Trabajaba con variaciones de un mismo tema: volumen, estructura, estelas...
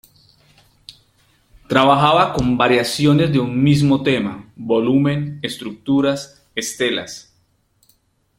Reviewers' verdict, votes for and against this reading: rejected, 0, 2